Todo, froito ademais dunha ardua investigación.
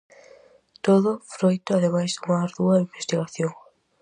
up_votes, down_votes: 4, 0